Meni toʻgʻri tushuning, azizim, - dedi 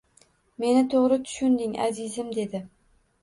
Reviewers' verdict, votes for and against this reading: accepted, 2, 0